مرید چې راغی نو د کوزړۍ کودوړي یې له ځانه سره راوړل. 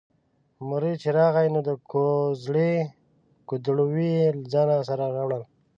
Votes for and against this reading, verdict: 1, 2, rejected